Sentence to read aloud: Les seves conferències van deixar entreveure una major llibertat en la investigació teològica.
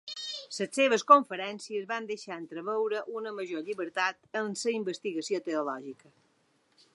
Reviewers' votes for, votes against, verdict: 2, 1, accepted